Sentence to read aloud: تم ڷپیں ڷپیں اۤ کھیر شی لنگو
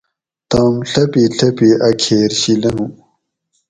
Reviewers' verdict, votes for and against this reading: rejected, 2, 2